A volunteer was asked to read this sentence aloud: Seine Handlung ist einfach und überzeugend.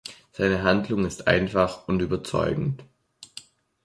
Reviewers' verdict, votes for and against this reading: accepted, 3, 0